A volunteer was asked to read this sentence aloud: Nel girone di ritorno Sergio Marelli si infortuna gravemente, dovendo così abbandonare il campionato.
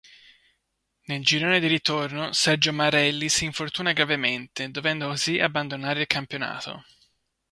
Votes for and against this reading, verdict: 3, 0, accepted